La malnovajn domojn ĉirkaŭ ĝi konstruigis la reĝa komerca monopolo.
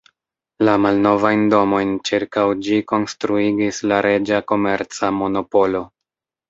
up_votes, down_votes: 2, 0